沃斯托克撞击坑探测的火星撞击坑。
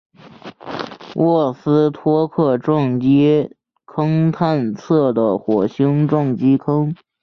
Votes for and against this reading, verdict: 2, 0, accepted